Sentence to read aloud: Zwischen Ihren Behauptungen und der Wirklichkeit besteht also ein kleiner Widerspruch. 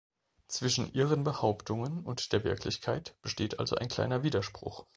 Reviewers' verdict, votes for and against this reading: rejected, 0, 2